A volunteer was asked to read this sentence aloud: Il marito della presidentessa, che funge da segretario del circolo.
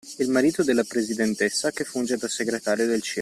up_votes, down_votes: 1, 2